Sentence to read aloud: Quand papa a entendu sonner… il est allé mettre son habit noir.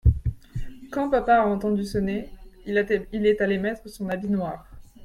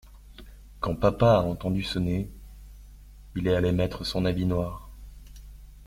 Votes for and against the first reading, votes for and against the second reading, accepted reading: 1, 2, 2, 0, second